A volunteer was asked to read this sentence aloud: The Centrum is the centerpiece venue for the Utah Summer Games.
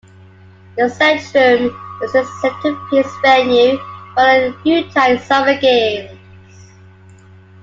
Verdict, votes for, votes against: rejected, 1, 2